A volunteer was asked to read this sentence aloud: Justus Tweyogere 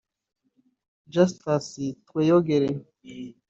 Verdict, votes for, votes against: rejected, 1, 2